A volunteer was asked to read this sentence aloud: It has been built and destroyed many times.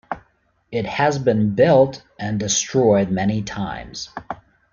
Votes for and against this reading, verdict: 2, 0, accepted